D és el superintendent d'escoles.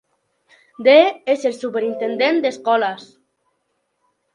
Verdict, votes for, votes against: accepted, 3, 1